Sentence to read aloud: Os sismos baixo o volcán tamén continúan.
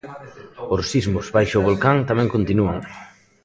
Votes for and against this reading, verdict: 1, 2, rejected